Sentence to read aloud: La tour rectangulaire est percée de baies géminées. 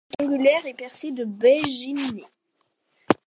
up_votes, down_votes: 1, 2